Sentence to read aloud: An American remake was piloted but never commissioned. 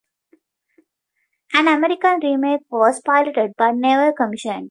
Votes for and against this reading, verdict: 2, 0, accepted